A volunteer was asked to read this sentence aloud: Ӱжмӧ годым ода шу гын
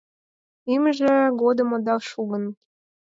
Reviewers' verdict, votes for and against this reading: rejected, 2, 4